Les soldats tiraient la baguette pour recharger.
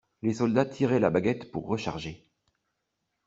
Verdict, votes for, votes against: accepted, 2, 0